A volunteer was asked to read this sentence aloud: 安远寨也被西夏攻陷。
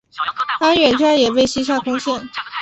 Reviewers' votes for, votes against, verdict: 0, 2, rejected